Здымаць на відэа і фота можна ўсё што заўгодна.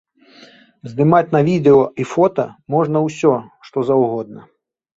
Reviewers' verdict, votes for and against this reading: rejected, 0, 2